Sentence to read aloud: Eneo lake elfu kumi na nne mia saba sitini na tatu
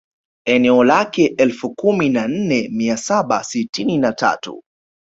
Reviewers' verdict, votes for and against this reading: accepted, 3, 0